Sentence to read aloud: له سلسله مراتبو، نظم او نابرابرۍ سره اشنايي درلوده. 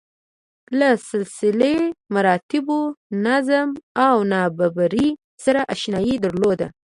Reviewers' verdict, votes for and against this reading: rejected, 0, 2